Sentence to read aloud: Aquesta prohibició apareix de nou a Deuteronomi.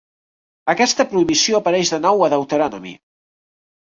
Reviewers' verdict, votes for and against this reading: rejected, 0, 2